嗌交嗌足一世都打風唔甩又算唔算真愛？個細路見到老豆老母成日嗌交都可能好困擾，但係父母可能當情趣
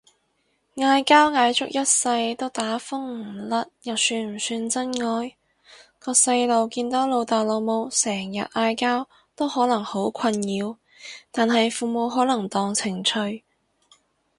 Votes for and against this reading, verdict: 2, 0, accepted